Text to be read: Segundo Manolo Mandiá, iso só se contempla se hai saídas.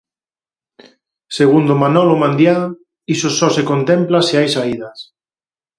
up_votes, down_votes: 4, 2